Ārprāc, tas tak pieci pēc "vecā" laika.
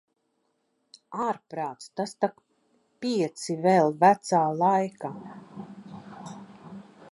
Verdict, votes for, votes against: rejected, 0, 2